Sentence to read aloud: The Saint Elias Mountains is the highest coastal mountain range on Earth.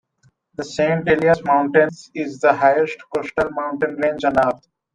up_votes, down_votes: 0, 2